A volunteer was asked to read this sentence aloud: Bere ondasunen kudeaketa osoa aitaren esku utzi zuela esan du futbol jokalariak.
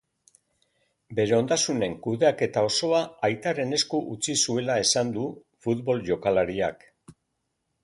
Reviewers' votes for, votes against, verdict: 2, 0, accepted